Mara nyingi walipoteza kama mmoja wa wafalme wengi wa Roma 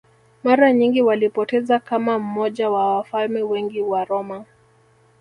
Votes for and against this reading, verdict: 2, 0, accepted